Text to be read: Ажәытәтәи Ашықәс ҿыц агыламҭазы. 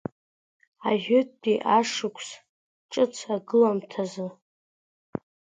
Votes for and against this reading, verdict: 1, 2, rejected